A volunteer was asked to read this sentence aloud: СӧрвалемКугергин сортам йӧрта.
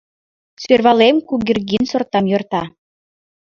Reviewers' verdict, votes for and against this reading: rejected, 2, 5